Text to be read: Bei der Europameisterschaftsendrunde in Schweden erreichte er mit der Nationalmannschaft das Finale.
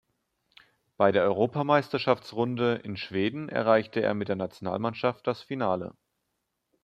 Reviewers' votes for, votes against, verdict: 1, 2, rejected